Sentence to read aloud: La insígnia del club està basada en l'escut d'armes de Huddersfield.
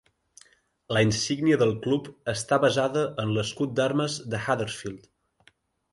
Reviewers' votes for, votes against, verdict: 2, 0, accepted